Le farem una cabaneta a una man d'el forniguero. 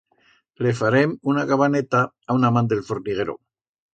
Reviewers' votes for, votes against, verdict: 2, 0, accepted